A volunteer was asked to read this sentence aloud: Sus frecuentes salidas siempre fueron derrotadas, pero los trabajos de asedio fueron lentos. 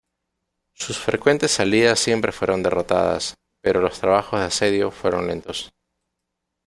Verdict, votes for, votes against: accepted, 2, 0